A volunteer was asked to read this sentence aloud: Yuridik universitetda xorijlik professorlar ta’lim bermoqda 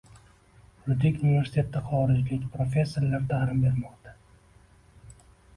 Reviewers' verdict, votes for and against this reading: accepted, 2, 0